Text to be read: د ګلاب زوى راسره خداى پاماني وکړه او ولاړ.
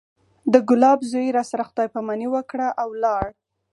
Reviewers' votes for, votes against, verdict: 4, 0, accepted